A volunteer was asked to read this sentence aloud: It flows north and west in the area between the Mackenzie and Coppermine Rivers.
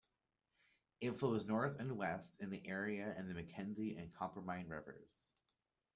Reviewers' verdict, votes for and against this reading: rejected, 1, 2